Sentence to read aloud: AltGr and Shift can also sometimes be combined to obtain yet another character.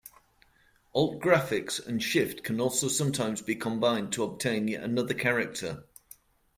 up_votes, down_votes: 0, 2